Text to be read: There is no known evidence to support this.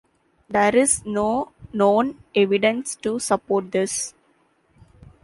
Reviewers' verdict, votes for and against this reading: accepted, 2, 0